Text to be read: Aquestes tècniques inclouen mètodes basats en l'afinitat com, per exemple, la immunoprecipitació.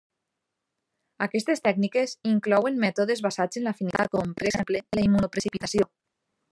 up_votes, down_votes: 0, 2